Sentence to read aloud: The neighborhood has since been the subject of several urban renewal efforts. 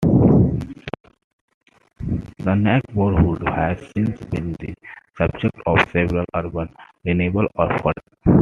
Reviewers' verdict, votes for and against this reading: rejected, 0, 2